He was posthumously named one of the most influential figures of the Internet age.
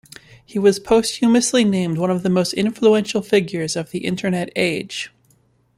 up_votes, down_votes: 3, 0